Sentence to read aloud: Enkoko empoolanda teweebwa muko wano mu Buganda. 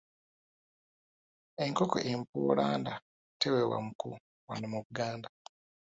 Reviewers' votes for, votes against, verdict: 0, 2, rejected